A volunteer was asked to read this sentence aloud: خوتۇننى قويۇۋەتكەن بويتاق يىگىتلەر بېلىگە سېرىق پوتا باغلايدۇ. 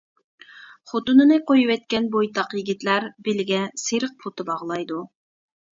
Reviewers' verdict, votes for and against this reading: rejected, 0, 2